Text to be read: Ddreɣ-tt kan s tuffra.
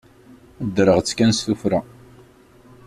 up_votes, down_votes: 2, 0